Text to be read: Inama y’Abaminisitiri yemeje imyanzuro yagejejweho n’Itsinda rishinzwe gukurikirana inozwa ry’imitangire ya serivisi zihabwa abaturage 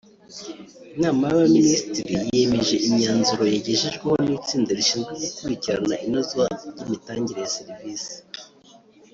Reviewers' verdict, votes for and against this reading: rejected, 0, 2